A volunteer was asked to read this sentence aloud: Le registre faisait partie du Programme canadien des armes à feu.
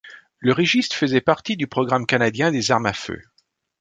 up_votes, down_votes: 1, 2